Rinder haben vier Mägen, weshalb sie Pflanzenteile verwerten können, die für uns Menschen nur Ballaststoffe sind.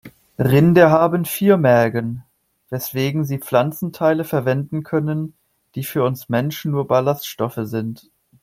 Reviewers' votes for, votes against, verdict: 1, 2, rejected